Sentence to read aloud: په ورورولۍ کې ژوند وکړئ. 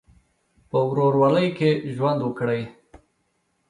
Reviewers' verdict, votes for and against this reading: accepted, 2, 0